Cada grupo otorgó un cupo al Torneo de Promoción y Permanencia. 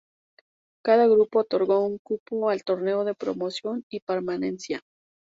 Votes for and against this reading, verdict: 2, 0, accepted